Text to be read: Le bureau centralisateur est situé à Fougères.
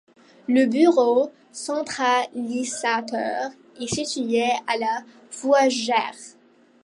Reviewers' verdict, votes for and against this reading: rejected, 0, 2